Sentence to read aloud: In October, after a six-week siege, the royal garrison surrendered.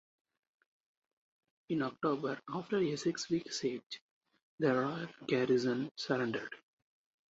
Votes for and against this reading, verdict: 2, 0, accepted